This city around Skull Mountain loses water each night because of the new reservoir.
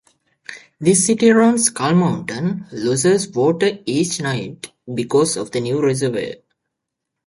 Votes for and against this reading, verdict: 1, 2, rejected